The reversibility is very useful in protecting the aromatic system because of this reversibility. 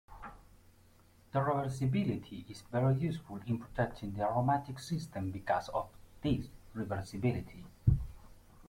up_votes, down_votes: 3, 0